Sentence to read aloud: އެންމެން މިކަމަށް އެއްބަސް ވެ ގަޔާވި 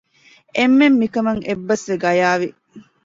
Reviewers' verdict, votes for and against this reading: accepted, 2, 0